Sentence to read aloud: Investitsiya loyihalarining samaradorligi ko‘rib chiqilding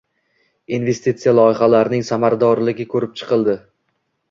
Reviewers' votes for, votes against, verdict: 2, 0, accepted